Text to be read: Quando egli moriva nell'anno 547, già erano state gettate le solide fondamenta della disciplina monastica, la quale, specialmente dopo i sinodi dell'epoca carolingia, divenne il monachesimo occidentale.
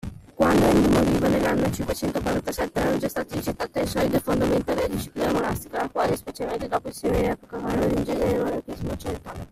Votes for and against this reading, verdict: 0, 2, rejected